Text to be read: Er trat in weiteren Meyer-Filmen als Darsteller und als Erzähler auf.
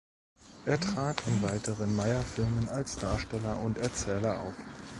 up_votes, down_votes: 1, 2